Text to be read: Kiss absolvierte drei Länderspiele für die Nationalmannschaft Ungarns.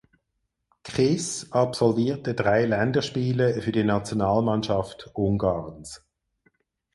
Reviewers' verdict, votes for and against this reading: rejected, 2, 4